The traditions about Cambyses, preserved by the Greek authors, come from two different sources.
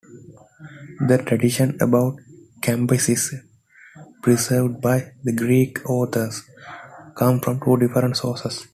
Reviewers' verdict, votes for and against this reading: accepted, 2, 0